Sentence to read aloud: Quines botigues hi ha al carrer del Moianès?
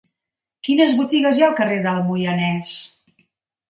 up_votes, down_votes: 3, 0